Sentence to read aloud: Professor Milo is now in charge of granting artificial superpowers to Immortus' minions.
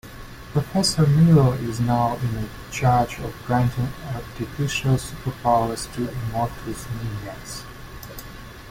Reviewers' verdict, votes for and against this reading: accepted, 2, 1